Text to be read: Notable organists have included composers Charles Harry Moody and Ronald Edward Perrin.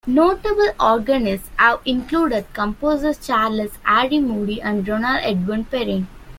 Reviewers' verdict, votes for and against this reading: rejected, 0, 2